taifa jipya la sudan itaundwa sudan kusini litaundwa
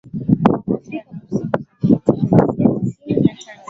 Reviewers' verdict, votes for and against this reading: rejected, 0, 2